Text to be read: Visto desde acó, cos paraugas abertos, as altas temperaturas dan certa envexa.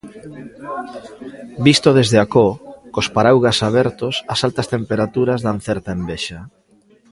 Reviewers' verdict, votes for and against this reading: rejected, 1, 2